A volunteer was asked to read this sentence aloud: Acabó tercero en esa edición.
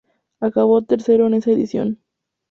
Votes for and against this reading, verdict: 2, 0, accepted